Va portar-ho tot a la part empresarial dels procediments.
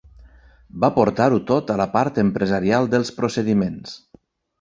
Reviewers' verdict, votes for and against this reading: accepted, 3, 0